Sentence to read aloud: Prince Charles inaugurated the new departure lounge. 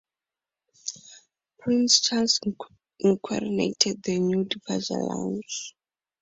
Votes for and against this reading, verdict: 0, 4, rejected